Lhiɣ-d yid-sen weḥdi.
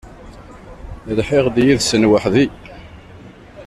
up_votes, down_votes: 1, 2